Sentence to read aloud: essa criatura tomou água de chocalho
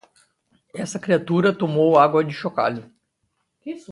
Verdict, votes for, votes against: rejected, 0, 2